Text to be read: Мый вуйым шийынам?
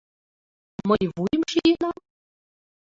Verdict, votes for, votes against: rejected, 1, 2